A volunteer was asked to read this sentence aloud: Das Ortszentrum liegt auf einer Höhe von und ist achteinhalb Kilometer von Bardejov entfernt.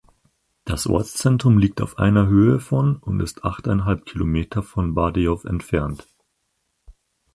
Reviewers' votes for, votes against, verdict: 4, 0, accepted